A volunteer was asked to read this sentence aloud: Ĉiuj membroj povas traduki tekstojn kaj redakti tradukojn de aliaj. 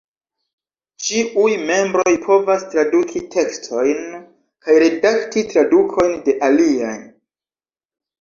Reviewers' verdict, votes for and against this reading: accepted, 2, 0